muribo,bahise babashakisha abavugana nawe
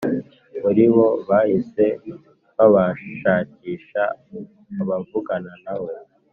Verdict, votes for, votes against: accepted, 4, 0